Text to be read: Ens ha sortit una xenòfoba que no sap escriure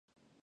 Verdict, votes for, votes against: rejected, 0, 2